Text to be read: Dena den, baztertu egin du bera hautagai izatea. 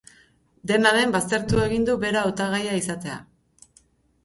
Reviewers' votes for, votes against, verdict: 2, 2, rejected